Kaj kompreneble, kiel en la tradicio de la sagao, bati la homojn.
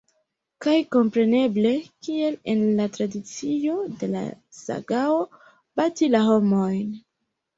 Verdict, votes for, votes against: rejected, 1, 2